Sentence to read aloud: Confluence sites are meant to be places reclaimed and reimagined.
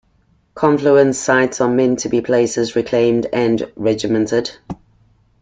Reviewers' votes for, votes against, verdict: 0, 2, rejected